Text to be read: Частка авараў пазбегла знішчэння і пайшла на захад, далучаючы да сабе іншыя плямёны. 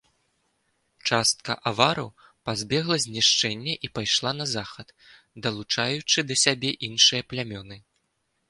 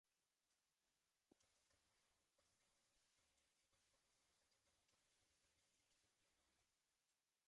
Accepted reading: first